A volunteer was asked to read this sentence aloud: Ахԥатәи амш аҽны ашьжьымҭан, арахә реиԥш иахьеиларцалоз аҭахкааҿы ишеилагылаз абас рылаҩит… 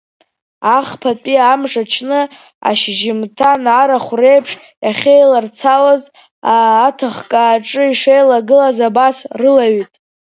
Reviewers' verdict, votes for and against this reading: rejected, 0, 2